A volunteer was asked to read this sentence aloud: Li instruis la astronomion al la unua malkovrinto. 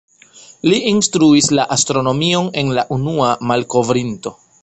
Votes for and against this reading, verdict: 0, 2, rejected